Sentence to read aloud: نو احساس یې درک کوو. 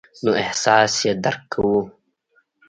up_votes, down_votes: 2, 0